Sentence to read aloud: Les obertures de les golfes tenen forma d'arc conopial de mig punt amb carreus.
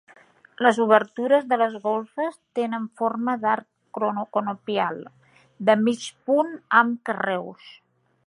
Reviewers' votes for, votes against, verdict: 1, 2, rejected